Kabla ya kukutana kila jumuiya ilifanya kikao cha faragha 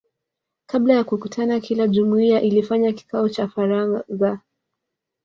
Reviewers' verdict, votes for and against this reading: rejected, 1, 2